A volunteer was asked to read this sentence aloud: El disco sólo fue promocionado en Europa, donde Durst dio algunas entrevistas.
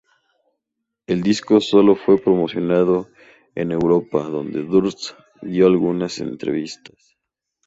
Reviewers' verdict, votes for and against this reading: rejected, 0, 2